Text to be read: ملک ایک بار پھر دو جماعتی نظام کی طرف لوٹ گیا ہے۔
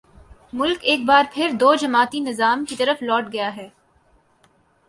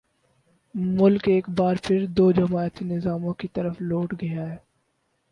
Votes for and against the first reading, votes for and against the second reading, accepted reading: 2, 0, 2, 4, first